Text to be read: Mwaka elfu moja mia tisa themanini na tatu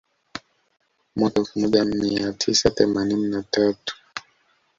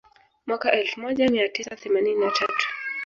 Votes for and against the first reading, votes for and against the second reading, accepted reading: 2, 1, 0, 2, first